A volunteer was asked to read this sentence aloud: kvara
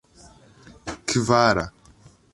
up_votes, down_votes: 2, 0